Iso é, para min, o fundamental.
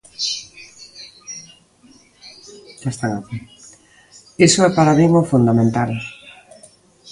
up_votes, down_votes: 1, 2